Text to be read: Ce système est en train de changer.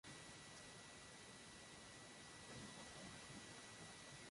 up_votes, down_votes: 0, 2